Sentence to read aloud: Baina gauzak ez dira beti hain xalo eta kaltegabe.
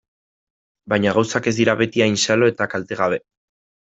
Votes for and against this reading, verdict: 2, 0, accepted